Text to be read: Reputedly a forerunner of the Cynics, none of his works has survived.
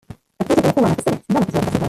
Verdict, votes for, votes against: rejected, 0, 2